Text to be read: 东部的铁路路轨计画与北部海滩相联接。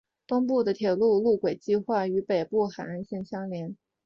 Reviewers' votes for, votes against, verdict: 3, 0, accepted